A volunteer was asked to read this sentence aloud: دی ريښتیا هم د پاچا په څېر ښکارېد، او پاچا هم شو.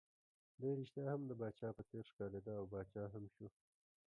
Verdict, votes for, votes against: accepted, 2, 0